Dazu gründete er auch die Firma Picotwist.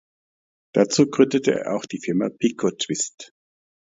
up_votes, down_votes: 1, 2